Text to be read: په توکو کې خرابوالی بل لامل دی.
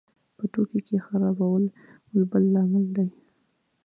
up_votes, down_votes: 0, 2